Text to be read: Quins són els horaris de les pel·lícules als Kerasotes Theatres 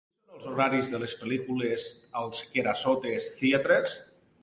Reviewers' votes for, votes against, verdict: 0, 4, rejected